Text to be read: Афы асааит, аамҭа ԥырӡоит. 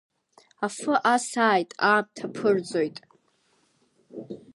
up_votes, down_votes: 2, 1